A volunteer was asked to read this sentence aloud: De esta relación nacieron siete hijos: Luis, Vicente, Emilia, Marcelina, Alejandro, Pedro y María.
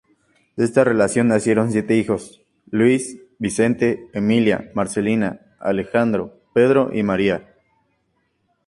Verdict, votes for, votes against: accepted, 4, 0